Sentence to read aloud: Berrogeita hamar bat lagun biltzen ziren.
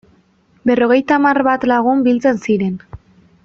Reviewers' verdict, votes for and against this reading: accepted, 4, 0